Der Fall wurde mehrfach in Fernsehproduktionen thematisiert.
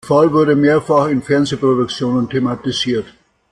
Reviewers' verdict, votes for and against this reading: rejected, 0, 2